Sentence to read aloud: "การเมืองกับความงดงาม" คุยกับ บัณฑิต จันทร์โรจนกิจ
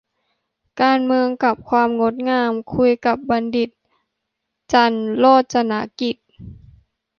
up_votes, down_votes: 2, 0